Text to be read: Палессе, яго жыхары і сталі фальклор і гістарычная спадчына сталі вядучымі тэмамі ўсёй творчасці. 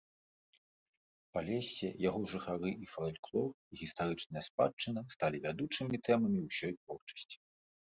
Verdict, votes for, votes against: accepted, 2, 0